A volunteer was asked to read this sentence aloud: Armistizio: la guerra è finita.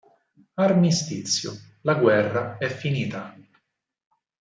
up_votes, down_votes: 4, 0